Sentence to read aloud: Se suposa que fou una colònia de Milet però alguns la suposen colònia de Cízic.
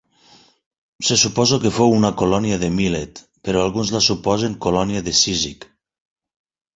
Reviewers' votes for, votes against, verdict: 0, 4, rejected